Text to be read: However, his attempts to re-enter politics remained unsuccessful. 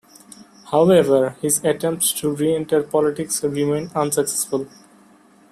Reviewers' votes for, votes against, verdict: 2, 1, accepted